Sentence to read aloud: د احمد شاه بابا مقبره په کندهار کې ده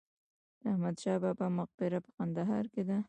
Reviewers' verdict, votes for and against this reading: accepted, 2, 0